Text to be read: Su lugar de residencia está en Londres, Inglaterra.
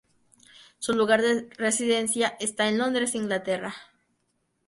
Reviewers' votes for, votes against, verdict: 0, 2, rejected